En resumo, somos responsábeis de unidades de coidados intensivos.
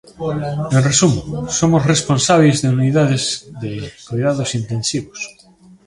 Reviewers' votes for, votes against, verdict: 2, 1, accepted